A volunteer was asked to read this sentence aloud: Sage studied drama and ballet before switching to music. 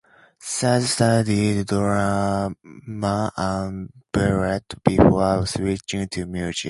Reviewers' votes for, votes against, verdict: 2, 0, accepted